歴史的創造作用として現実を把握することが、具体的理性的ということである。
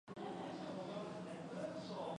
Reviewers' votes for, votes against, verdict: 0, 2, rejected